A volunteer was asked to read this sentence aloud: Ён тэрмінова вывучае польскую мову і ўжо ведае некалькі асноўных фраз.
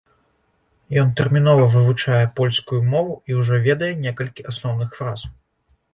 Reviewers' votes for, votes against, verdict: 2, 0, accepted